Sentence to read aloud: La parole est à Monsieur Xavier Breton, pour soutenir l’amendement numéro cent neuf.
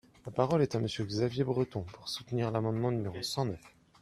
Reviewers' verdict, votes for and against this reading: accepted, 2, 0